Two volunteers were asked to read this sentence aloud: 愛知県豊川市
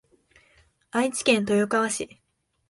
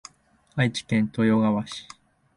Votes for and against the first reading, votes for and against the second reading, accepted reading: 2, 0, 0, 2, first